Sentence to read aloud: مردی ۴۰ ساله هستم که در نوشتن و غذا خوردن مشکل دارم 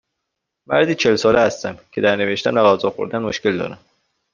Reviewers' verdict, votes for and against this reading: rejected, 0, 2